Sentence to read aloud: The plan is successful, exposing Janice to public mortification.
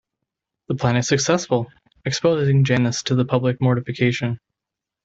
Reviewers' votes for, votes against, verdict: 0, 2, rejected